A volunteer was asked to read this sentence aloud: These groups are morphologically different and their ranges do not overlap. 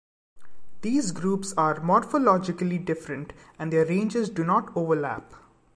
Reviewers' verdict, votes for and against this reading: accepted, 2, 0